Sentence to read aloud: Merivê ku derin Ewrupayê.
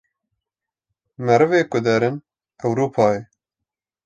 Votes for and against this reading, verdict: 2, 0, accepted